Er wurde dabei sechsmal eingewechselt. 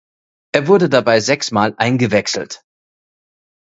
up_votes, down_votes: 2, 1